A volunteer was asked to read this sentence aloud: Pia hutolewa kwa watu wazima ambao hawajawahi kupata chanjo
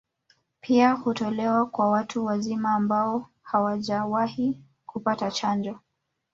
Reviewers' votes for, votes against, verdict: 1, 2, rejected